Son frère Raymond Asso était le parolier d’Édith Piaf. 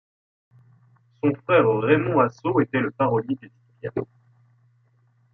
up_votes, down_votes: 2, 1